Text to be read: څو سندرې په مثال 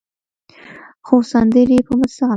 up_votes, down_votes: 0, 2